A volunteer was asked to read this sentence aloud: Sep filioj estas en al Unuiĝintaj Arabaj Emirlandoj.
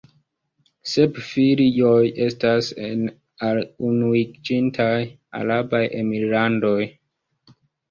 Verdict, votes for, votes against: accepted, 2, 0